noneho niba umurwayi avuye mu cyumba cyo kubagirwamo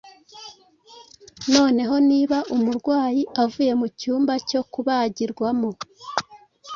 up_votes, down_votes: 2, 0